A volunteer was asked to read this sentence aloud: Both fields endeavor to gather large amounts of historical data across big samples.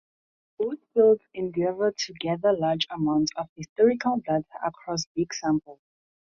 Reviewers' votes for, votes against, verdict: 0, 2, rejected